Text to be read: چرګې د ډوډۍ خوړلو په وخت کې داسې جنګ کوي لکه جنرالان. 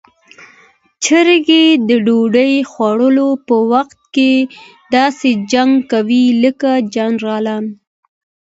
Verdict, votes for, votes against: accepted, 2, 0